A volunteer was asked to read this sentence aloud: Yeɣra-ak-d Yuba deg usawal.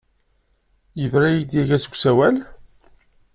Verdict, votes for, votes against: rejected, 1, 2